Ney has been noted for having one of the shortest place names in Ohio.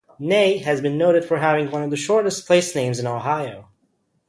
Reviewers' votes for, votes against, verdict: 0, 2, rejected